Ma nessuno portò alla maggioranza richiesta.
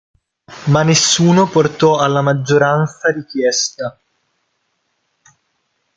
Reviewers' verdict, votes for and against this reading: accepted, 2, 1